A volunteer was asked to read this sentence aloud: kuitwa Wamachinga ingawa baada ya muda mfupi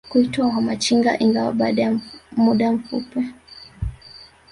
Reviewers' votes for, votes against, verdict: 1, 2, rejected